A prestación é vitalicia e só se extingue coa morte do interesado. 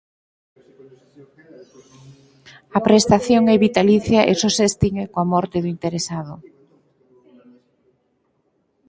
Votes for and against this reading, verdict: 4, 0, accepted